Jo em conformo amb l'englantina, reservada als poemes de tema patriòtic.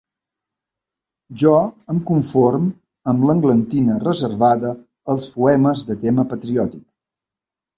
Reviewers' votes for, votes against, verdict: 1, 3, rejected